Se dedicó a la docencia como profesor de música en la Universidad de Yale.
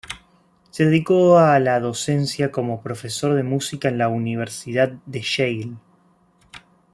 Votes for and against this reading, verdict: 0, 2, rejected